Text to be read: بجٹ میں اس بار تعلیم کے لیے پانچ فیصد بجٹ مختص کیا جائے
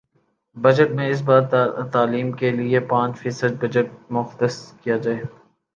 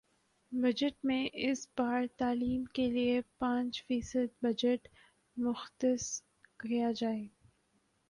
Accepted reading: first